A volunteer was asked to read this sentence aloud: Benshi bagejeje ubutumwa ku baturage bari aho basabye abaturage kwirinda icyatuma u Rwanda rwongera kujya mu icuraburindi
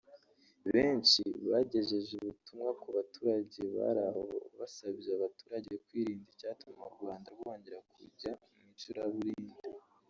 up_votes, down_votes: 2, 1